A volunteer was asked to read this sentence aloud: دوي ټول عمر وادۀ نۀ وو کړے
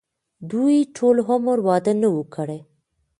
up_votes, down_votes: 2, 0